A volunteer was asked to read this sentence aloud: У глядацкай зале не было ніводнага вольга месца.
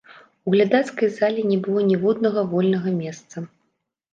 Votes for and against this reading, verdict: 1, 2, rejected